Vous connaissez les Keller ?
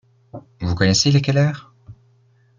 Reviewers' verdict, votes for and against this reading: accepted, 2, 0